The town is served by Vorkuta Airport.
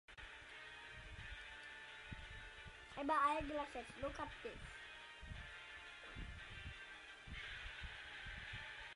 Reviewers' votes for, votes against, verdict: 0, 2, rejected